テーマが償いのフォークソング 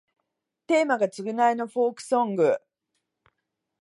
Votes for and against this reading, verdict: 2, 0, accepted